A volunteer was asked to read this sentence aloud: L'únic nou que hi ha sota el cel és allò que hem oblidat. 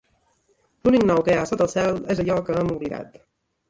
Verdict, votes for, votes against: rejected, 2, 3